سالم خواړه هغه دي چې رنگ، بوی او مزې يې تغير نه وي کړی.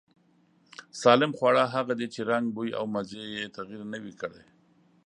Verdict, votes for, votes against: accepted, 2, 0